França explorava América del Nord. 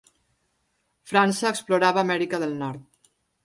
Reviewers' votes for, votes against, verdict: 3, 0, accepted